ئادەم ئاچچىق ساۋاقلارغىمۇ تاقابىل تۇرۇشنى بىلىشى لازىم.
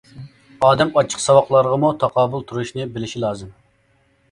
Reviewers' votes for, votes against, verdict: 2, 0, accepted